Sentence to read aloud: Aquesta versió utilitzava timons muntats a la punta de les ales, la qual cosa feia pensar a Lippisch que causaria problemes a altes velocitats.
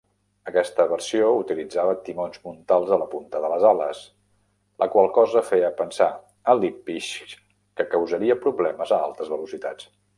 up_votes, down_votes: 1, 2